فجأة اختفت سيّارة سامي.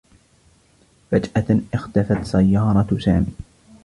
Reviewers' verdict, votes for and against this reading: rejected, 1, 2